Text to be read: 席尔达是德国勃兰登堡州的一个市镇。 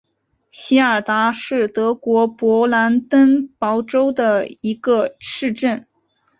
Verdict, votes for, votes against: accepted, 4, 1